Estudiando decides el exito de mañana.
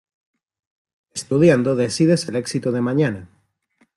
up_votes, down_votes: 2, 0